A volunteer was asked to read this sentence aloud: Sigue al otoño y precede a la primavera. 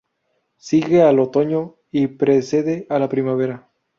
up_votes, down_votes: 2, 0